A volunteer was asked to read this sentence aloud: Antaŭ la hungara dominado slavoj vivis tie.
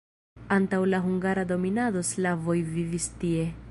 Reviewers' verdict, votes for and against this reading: rejected, 1, 2